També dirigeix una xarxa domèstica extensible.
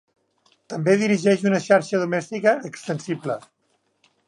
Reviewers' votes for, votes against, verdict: 2, 0, accepted